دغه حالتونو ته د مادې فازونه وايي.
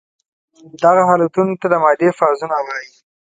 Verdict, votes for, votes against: accepted, 2, 0